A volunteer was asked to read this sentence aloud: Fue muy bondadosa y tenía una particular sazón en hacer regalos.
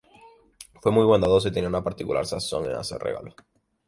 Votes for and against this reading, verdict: 0, 4, rejected